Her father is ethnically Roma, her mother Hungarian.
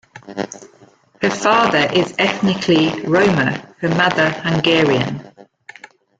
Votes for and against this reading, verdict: 1, 2, rejected